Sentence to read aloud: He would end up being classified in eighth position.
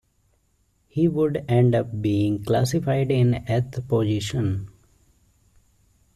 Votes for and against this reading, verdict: 2, 1, accepted